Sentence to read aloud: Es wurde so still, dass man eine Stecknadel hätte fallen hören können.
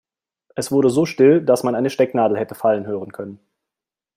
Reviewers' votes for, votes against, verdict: 2, 0, accepted